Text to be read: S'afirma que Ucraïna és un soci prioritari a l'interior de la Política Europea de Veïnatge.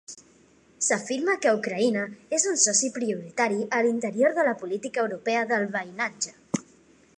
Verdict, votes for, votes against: accepted, 3, 1